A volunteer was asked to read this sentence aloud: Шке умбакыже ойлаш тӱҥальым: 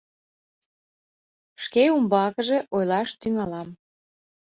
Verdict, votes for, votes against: rejected, 0, 2